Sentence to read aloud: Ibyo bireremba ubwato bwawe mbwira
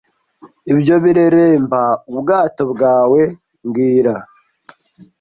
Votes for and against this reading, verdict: 0, 2, rejected